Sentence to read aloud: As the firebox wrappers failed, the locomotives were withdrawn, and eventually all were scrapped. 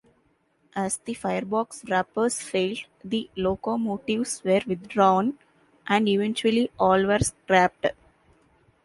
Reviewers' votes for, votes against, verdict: 2, 1, accepted